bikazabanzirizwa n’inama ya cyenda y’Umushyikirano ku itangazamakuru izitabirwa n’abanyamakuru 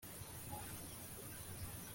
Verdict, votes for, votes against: rejected, 0, 2